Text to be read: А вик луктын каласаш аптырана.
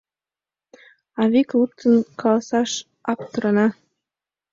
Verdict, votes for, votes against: accepted, 2, 0